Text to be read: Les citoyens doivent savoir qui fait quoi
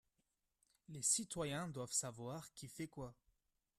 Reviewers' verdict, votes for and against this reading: accepted, 2, 0